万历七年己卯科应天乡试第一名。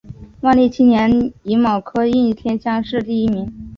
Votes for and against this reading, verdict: 3, 0, accepted